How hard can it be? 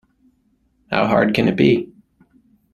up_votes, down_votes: 2, 0